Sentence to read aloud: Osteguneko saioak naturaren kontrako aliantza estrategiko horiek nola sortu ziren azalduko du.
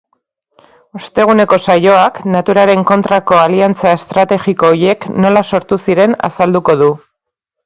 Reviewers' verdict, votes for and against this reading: accepted, 2, 1